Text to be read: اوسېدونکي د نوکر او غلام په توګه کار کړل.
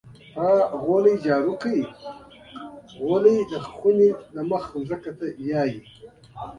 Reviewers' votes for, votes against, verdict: 0, 2, rejected